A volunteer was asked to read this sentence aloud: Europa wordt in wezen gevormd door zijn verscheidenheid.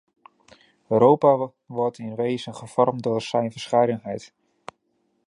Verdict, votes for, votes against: rejected, 0, 2